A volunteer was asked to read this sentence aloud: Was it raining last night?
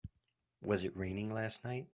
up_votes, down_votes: 3, 0